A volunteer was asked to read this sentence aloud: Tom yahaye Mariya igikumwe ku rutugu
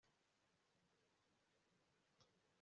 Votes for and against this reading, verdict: 1, 3, rejected